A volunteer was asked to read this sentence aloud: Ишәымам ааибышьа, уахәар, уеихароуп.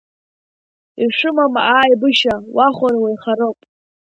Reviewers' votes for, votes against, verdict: 1, 2, rejected